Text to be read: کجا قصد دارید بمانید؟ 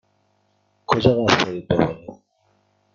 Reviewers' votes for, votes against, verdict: 1, 2, rejected